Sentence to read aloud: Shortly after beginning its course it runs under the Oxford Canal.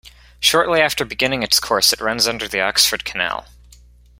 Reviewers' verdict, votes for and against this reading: accepted, 2, 0